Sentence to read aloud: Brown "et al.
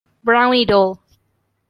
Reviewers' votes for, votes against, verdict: 0, 2, rejected